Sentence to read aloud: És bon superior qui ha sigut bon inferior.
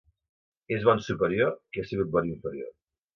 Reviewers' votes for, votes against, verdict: 2, 0, accepted